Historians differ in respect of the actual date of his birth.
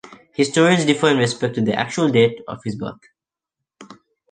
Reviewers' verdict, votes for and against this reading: rejected, 0, 2